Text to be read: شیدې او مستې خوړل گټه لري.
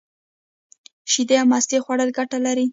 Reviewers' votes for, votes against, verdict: 1, 2, rejected